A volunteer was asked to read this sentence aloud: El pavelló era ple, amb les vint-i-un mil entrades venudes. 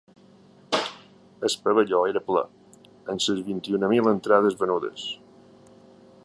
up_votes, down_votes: 1, 3